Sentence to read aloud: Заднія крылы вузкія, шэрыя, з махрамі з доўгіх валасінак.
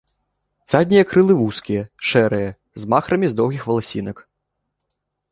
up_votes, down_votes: 1, 4